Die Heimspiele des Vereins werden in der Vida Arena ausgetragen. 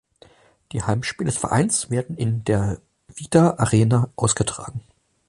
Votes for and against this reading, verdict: 4, 0, accepted